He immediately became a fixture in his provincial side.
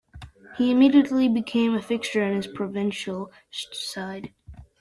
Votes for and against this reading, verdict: 0, 2, rejected